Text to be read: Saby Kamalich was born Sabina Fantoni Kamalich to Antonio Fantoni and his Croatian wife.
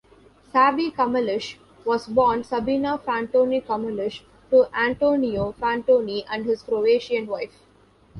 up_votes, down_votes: 0, 2